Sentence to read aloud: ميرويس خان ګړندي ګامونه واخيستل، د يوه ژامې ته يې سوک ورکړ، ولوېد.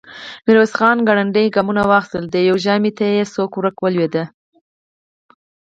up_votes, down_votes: 4, 0